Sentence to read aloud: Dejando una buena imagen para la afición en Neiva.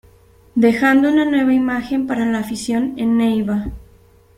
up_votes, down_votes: 1, 2